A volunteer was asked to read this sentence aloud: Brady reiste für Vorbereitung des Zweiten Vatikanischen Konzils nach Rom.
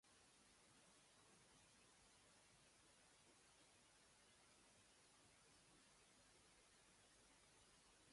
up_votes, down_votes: 0, 2